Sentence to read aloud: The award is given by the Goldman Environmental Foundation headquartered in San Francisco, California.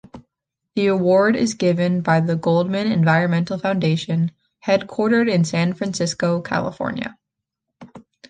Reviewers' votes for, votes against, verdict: 2, 0, accepted